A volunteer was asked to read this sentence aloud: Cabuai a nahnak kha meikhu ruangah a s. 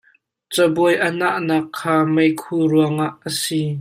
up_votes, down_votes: 1, 2